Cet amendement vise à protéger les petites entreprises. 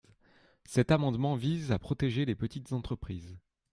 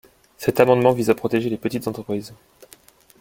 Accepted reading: first